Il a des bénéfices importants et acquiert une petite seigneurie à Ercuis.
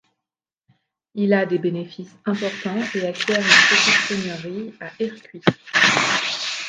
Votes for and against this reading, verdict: 0, 2, rejected